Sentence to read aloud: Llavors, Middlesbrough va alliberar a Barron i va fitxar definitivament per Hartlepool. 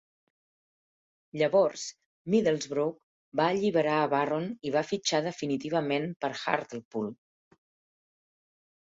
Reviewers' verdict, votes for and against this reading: accepted, 4, 0